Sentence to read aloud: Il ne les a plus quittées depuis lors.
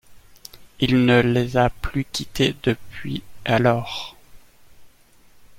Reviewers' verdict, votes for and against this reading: rejected, 1, 2